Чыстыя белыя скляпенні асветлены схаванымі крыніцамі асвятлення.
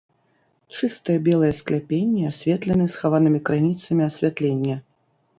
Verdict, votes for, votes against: accepted, 2, 0